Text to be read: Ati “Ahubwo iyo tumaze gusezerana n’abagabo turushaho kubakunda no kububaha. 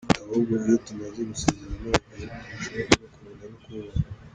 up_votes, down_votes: 0, 2